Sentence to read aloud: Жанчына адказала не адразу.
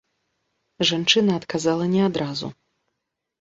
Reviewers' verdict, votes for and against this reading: accepted, 2, 0